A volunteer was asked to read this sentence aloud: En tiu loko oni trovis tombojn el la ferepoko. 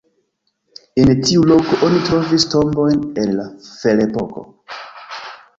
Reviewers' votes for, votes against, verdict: 2, 1, accepted